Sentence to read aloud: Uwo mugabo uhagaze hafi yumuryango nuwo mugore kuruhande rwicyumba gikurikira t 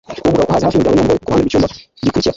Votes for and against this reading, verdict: 0, 2, rejected